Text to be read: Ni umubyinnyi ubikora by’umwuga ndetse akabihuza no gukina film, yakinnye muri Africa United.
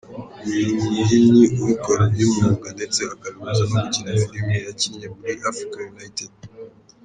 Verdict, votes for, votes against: rejected, 2, 3